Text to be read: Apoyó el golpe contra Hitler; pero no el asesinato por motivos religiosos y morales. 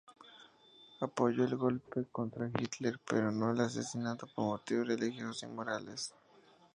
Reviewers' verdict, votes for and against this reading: accepted, 2, 0